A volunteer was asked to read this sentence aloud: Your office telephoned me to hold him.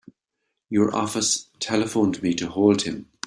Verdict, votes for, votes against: accepted, 3, 2